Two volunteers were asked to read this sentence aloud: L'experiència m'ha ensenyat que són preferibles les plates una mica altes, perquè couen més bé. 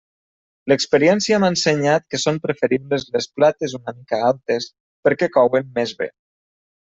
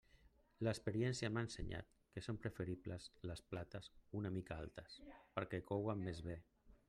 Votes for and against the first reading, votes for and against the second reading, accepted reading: 3, 1, 1, 2, first